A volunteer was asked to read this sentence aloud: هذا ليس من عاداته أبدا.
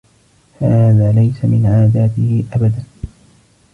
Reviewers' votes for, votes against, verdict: 2, 1, accepted